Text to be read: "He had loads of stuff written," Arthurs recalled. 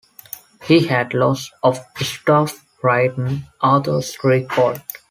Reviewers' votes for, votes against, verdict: 0, 2, rejected